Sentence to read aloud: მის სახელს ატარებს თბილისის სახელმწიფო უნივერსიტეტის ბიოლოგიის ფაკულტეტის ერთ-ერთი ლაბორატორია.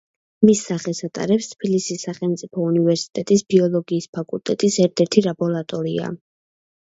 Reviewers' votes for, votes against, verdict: 1, 2, rejected